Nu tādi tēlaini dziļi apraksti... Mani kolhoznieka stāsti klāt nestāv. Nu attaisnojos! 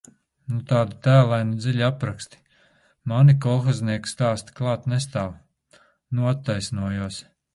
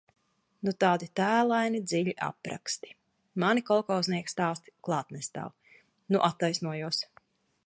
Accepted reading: first